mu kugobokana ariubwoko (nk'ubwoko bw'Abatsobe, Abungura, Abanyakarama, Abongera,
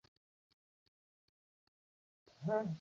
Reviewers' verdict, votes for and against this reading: rejected, 0, 2